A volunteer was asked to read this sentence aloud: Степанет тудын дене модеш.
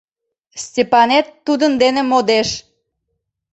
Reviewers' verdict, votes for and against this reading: accepted, 2, 0